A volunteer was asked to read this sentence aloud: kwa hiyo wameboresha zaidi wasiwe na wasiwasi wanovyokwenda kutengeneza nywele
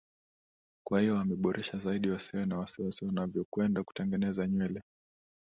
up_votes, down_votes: 2, 0